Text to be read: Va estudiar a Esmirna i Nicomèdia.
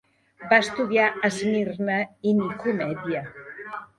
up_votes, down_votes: 1, 2